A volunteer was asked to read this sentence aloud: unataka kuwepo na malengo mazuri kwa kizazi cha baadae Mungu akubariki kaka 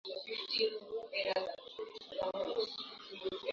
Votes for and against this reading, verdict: 0, 2, rejected